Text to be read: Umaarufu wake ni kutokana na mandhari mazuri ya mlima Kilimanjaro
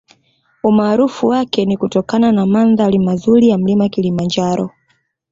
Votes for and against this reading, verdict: 2, 0, accepted